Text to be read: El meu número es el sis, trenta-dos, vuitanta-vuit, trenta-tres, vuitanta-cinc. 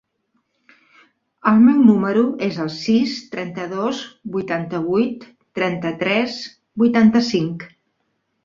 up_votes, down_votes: 3, 0